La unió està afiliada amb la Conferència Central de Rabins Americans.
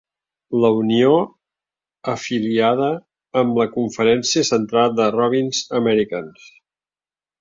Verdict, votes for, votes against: rejected, 0, 2